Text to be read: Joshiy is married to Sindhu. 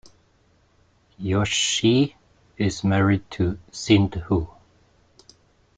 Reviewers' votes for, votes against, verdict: 2, 3, rejected